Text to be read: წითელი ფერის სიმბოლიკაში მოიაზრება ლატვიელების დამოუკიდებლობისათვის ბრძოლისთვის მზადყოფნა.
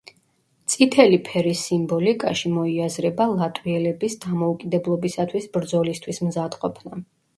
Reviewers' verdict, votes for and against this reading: rejected, 1, 2